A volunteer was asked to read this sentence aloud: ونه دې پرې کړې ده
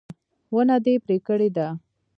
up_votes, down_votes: 1, 2